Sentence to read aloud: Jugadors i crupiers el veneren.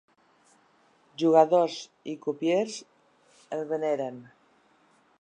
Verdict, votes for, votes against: accepted, 2, 0